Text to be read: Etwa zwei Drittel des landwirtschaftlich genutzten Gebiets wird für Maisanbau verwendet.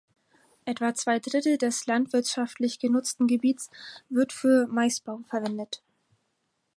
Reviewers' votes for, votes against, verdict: 0, 4, rejected